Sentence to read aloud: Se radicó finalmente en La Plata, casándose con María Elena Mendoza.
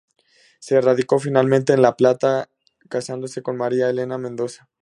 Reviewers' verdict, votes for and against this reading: accepted, 6, 0